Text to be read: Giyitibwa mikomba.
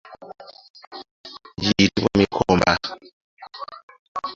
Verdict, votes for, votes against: rejected, 0, 2